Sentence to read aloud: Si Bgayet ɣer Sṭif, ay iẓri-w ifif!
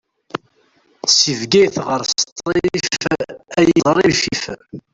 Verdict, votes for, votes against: rejected, 0, 2